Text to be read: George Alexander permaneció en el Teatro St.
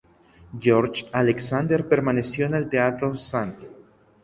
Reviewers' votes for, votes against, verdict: 2, 0, accepted